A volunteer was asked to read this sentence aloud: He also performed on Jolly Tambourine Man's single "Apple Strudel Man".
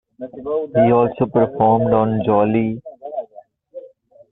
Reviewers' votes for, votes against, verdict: 0, 2, rejected